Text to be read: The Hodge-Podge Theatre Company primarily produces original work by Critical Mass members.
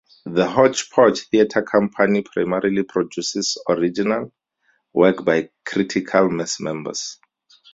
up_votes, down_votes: 4, 0